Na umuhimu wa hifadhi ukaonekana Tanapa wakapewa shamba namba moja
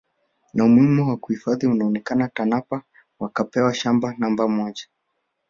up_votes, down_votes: 3, 2